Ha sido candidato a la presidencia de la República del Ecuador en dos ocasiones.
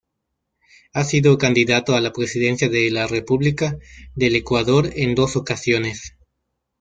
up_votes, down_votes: 1, 2